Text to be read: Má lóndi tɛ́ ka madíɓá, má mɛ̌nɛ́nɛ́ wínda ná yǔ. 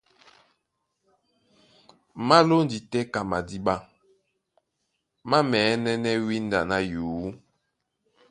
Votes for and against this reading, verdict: 2, 0, accepted